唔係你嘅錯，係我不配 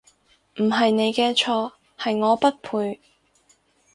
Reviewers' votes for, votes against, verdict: 4, 0, accepted